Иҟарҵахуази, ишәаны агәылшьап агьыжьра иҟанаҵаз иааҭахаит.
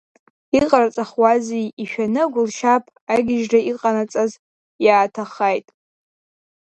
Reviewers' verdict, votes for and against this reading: rejected, 1, 2